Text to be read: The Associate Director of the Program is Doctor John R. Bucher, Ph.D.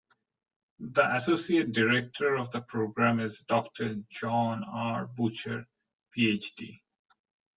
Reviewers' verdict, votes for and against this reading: accepted, 2, 0